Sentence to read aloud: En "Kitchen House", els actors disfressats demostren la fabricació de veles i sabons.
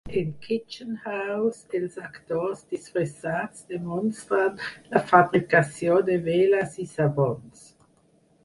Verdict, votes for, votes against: rejected, 2, 4